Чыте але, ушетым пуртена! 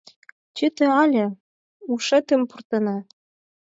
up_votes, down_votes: 4, 0